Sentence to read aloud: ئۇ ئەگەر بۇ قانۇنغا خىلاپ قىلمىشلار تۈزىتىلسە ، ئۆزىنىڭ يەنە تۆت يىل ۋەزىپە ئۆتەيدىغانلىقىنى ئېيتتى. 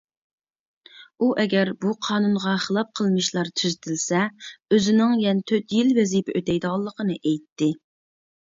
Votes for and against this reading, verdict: 2, 0, accepted